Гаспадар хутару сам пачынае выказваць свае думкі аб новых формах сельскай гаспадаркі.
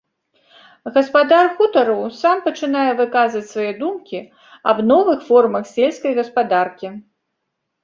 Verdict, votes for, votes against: accepted, 3, 0